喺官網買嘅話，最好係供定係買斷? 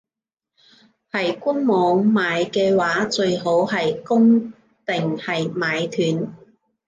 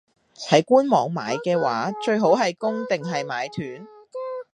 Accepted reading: second